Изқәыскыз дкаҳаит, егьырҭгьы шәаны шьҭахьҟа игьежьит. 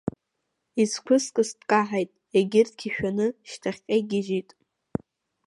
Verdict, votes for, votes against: accepted, 3, 0